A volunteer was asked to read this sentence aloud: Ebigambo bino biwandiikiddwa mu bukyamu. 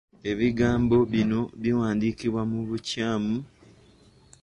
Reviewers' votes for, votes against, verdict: 1, 2, rejected